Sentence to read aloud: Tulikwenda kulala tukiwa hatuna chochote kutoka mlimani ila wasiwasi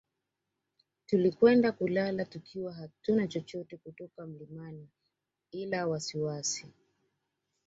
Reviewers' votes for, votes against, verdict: 2, 0, accepted